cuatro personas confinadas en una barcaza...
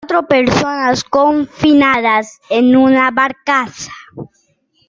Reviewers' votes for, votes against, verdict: 2, 1, accepted